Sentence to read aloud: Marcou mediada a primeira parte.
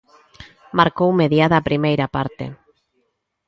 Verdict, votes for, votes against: accepted, 2, 0